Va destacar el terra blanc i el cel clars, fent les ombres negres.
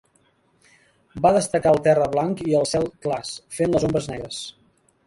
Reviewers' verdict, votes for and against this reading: accepted, 2, 1